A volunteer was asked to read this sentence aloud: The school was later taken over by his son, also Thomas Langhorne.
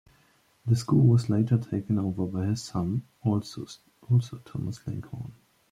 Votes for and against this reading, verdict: 1, 2, rejected